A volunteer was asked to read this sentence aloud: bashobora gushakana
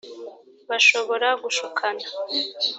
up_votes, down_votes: 1, 2